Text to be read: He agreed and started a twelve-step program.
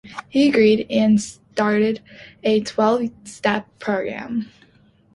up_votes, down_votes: 2, 0